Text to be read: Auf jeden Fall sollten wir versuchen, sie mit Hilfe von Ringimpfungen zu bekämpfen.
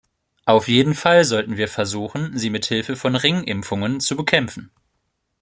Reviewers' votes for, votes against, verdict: 2, 0, accepted